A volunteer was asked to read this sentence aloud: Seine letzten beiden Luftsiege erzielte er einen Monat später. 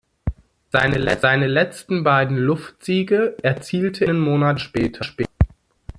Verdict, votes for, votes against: rejected, 0, 2